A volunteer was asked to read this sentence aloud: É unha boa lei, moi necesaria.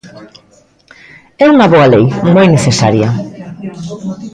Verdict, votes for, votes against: rejected, 1, 2